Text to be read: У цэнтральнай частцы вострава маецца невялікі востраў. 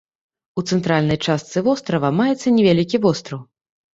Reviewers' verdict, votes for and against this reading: accepted, 3, 0